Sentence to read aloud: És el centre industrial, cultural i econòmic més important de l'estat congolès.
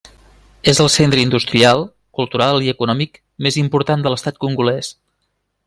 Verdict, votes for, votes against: accepted, 3, 0